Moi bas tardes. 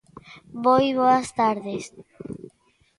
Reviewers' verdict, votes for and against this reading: rejected, 0, 2